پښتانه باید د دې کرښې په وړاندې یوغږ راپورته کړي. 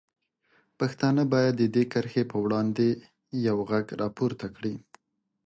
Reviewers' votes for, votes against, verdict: 2, 0, accepted